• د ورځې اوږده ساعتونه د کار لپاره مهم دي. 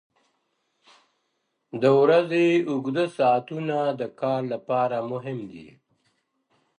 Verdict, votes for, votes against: accepted, 3, 1